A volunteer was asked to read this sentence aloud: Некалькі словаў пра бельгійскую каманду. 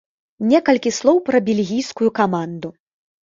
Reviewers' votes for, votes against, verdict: 0, 2, rejected